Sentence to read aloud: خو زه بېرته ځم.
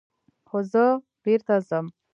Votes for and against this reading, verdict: 2, 0, accepted